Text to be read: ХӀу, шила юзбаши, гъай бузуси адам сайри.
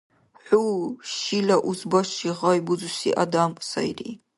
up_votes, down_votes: 1, 2